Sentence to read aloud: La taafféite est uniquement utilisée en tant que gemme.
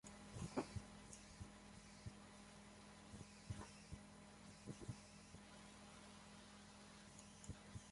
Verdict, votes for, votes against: rejected, 1, 2